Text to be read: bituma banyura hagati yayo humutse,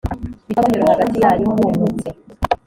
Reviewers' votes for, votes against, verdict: 4, 5, rejected